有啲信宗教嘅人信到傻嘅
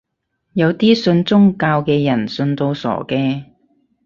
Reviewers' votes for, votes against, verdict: 4, 0, accepted